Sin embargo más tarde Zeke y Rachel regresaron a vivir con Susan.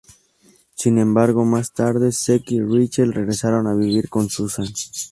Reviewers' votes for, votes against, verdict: 2, 0, accepted